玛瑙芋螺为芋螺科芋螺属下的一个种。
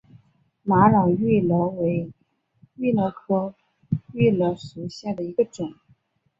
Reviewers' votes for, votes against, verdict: 4, 0, accepted